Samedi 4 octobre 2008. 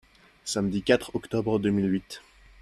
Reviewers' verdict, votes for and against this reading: rejected, 0, 2